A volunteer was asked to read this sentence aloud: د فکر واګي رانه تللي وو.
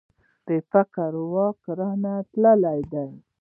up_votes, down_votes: 2, 0